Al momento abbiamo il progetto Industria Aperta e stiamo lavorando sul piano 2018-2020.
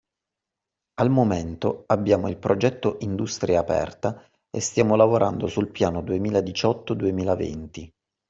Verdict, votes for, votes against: rejected, 0, 2